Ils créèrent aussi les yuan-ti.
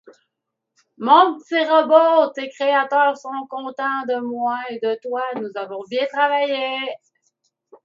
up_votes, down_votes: 0, 2